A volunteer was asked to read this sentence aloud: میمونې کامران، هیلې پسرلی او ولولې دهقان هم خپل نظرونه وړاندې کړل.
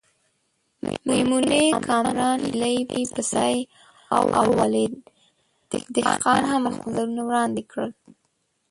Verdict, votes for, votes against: rejected, 0, 2